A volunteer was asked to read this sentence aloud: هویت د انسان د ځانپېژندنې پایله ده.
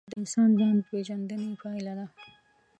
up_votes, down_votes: 1, 2